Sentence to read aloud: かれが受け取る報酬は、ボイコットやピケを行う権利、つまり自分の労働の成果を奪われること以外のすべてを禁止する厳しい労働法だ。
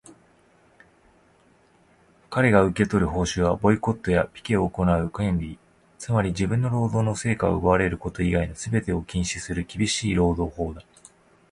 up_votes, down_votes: 2, 0